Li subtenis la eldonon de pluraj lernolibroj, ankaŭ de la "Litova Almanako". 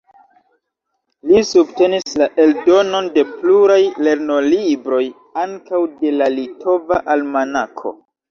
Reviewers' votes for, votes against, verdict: 2, 0, accepted